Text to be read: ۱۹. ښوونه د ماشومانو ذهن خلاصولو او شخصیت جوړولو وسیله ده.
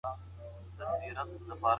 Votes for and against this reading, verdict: 0, 2, rejected